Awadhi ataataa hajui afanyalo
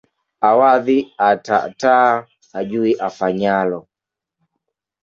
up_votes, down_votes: 2, 1